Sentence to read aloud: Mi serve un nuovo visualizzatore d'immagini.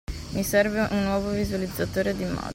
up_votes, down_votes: 0, 2